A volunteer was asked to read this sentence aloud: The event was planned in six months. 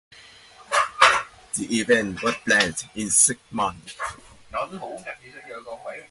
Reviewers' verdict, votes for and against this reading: rejected, 0, 2